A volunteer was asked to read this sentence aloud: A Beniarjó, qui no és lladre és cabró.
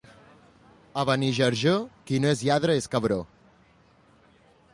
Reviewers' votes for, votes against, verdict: 1, 3, rejected